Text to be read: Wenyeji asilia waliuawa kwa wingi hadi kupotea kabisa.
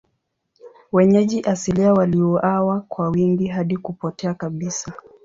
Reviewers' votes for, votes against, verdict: 2, 0, accepted